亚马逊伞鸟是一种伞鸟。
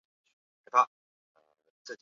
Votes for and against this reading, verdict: 0, 4, rejected